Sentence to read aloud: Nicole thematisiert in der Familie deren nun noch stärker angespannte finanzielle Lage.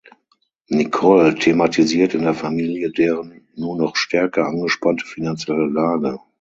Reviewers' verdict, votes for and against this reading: rejected, 0, 6